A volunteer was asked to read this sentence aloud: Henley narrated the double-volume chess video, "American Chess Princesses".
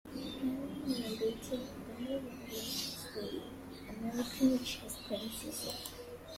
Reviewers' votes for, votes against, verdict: 0, 2, rejected